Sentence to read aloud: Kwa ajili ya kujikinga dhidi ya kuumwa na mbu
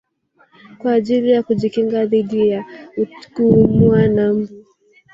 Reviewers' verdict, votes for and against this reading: rejected, 1, 3